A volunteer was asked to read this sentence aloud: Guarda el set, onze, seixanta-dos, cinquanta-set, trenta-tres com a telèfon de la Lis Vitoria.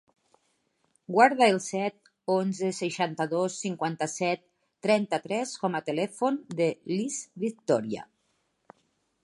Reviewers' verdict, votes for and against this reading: rejected, 1, 3